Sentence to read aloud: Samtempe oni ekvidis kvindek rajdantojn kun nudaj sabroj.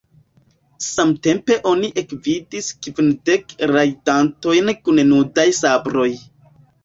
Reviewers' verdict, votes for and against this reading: accepted, 2, 1